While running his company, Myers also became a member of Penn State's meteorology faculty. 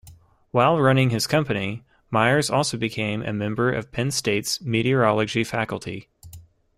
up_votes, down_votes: 2, 0